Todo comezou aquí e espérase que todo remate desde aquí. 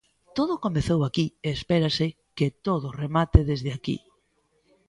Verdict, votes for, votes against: accepted, 2, 0